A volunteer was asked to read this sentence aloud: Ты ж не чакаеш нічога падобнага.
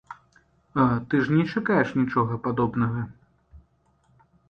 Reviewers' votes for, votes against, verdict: 0, 2, rejected